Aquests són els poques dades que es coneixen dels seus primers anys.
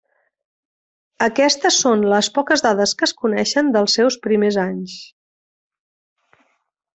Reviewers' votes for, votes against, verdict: 1, 3, rejected